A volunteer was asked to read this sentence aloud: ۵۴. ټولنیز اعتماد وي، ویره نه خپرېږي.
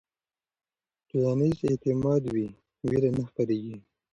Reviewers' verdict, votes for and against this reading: rejected, 0, 2